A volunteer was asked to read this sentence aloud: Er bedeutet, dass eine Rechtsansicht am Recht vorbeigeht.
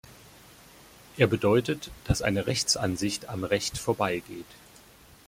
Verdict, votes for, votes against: accepted, 2, 0